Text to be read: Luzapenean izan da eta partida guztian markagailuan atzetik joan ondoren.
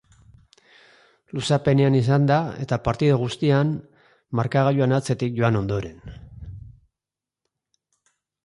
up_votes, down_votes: 2, 3